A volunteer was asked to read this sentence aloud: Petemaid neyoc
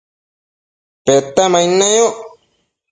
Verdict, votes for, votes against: accepted, 2, 0